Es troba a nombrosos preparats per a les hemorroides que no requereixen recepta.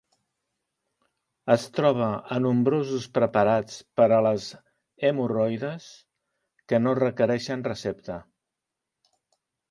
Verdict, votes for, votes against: accepted, 4, 0